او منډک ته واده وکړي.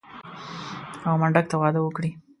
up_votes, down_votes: 2, 1